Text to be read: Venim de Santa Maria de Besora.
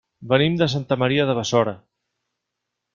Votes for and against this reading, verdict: 1, 3, rejected